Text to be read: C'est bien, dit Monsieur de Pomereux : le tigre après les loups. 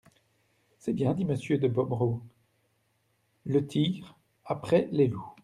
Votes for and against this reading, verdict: 0, 2, rejected